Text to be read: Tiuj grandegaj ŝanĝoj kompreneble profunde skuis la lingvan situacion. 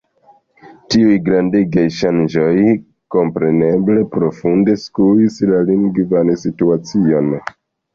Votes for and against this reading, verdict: 0, 2, rejected